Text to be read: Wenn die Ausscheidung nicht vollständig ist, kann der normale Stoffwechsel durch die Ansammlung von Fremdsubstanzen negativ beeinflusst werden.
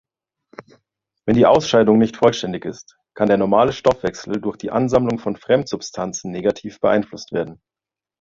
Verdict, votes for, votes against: accepted, 2, 0